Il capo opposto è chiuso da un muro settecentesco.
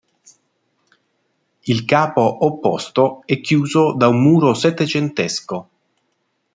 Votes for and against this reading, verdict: 2, 0, accepted